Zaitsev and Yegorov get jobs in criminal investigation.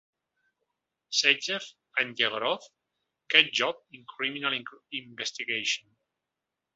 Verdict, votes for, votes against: rejected, 0, 2